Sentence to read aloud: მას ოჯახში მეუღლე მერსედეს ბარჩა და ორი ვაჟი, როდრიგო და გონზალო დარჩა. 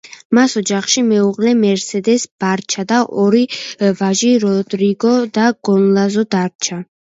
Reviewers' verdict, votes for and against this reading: rejected, 0, 2